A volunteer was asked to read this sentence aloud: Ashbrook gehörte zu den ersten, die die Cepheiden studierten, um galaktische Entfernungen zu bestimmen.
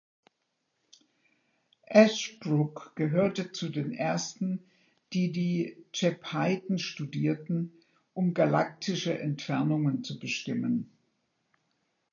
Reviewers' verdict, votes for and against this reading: rejected, 0, 2